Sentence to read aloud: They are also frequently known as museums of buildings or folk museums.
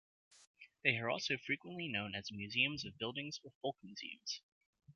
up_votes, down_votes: 0, 2